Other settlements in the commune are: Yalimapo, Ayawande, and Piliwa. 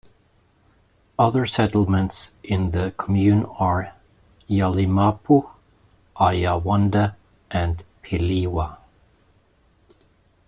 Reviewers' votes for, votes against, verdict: 2, 0, accepted